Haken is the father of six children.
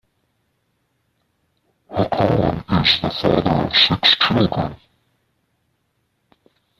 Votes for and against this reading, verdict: 0, 2, rejected